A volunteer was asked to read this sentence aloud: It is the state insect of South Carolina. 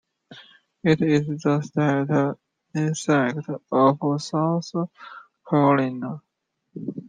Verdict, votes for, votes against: rejected, 0, 2